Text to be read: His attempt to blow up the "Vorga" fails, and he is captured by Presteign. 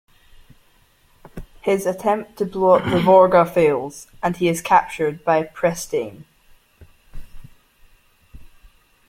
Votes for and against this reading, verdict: 2, 0, accepted